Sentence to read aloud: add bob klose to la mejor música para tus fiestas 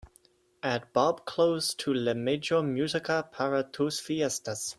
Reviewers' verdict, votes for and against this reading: rejected, 1, 2